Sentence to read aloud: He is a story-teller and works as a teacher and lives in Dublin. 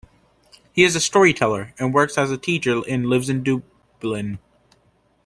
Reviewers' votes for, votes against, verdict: 0, 2, rejected